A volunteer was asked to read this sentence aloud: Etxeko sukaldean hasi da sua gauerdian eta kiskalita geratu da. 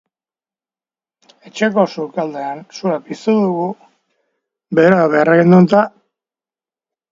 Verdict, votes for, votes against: rejected, 0, 2